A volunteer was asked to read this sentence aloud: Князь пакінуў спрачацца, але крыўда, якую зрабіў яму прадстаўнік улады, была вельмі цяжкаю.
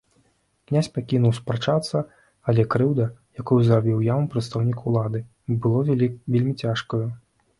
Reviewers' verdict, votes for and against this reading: rejected, 0, 2